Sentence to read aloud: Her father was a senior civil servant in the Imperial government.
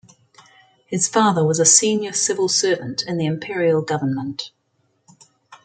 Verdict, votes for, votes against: rejected, 1, 2